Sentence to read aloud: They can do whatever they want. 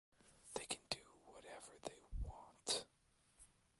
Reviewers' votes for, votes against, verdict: 0, 2, rejected